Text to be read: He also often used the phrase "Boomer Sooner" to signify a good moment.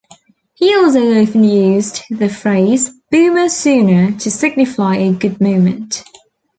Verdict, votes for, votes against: rejected, 1, 2